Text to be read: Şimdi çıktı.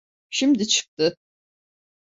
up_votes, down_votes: 2, 0